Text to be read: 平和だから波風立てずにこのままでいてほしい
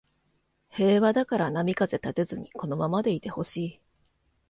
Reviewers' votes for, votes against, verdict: 2, 0, accepted